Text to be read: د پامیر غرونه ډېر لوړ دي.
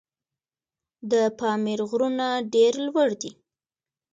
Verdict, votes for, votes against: rejected, 0, 2